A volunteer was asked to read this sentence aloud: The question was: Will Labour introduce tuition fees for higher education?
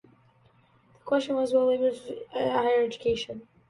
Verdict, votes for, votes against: rejected, 0, 2